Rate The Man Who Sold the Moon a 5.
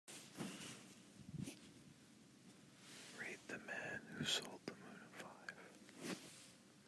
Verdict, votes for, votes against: rejected, 0, 2